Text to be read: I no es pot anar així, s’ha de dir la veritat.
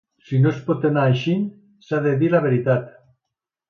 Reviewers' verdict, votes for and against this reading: rejected, 1, 2